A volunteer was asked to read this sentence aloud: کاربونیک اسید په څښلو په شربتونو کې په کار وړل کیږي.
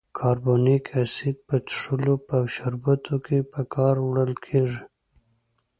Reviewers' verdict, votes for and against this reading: accepted, 2, 0